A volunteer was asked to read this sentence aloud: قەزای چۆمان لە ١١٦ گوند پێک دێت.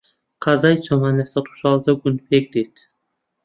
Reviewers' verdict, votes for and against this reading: rejected, 0, 2